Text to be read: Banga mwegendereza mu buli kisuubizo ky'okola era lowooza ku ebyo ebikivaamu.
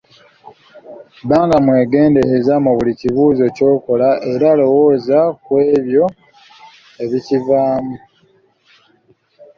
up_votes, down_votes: 2, 0